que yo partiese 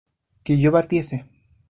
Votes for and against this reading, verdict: 0, 2, rejected